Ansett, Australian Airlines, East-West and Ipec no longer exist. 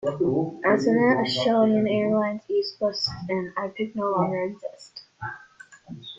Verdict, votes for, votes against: rejected, 1, 2